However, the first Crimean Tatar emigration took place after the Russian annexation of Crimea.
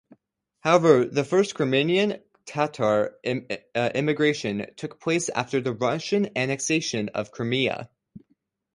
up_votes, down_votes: 0, 2